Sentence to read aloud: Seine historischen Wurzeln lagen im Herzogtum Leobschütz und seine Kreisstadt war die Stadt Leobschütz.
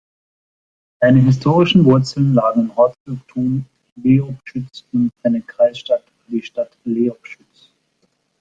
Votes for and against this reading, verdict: 0, 2, rejected